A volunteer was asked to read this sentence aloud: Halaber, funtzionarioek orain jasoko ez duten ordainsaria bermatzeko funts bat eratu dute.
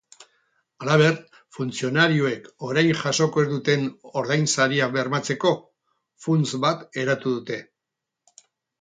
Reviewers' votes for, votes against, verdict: 2, 2, rejected